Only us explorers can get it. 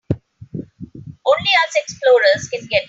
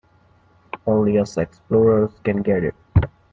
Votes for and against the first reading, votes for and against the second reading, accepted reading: 0, 2, 2, 1, second